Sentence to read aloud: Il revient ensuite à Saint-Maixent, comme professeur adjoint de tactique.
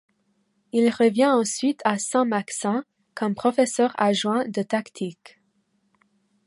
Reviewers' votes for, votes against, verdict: 1, 2, rejected